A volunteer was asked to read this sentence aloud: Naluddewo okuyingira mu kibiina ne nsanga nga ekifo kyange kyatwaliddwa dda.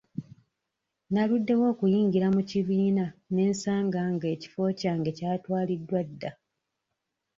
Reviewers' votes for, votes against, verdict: 2, 0, accepted